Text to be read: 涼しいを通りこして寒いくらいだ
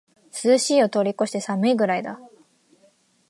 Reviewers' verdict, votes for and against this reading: accepted, 2, 1